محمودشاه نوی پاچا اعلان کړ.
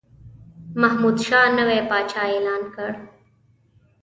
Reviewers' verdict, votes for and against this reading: accepted, 2, 0